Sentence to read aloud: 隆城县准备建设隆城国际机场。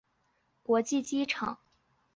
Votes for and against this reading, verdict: 2, 2, rejected